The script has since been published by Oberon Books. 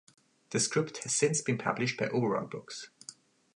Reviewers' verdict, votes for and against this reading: rejected, 1, 2